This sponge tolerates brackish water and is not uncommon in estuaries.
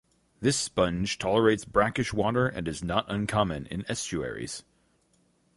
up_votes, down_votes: 2, 2